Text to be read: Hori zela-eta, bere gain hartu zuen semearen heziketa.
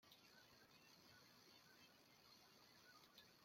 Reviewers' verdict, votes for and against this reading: rejected, 0, 2